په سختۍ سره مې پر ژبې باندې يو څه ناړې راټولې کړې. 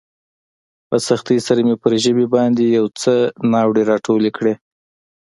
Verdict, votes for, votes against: accepted, 2, 0